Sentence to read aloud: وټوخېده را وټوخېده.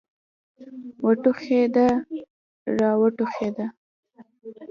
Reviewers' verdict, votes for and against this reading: accepted, 2, 0